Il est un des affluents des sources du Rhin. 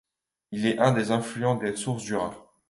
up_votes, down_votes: 2, 0